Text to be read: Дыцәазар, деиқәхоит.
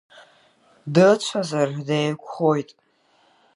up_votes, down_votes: 1, 2